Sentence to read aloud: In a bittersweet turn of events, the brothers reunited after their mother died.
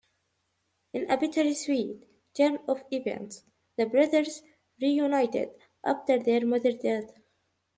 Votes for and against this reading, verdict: 0, 2, rejected